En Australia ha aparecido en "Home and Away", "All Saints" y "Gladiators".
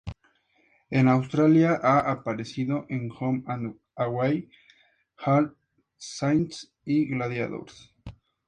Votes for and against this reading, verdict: 2, 0, accepted